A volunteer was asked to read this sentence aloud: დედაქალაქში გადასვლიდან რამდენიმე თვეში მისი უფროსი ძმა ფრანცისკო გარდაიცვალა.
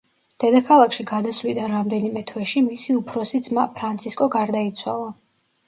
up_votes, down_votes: 2, 0